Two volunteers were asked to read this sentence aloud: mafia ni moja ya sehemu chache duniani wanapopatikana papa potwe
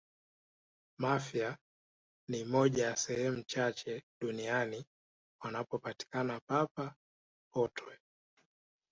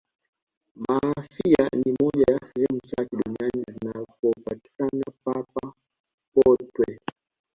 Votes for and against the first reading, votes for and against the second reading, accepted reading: 2, 0, 0, 2, first